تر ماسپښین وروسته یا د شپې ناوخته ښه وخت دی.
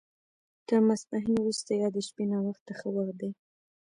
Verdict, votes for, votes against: accepted, 2, 0